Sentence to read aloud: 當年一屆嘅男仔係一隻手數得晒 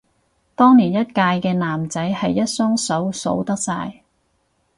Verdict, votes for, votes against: rejected, 4, 4